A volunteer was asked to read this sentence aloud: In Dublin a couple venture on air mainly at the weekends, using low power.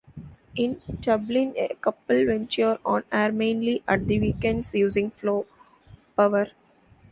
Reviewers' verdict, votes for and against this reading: rejected, 0, 2